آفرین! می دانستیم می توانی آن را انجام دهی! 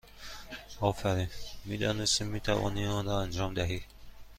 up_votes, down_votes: 2, 0